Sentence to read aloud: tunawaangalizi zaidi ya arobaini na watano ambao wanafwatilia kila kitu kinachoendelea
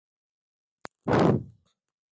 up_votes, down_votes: 0, 2